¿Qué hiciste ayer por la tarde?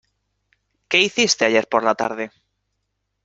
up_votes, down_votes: 2, 0